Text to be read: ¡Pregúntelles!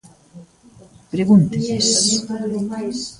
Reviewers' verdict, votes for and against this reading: rejected, 0, 2